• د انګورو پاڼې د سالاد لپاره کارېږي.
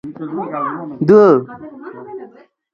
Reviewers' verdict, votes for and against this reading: rejected, 0, 2